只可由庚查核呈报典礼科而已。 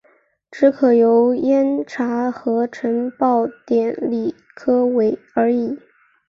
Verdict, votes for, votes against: rejected, 1, 3